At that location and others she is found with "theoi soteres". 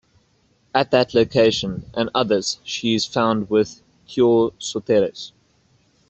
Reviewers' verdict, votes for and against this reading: accepted, 2, 0